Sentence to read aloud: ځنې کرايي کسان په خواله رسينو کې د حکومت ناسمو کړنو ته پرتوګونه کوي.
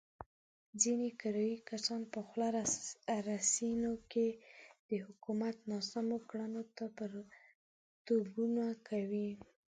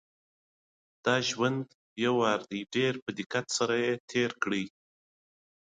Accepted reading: second